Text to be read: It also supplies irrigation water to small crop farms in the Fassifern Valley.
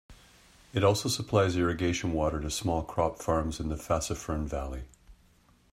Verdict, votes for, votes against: accepted, 2, 1